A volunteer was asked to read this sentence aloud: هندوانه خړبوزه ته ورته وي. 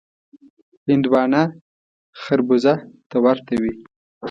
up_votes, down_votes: 2, 0